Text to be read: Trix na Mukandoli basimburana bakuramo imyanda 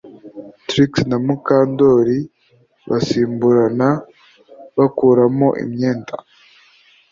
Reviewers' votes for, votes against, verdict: 0, 2, rejected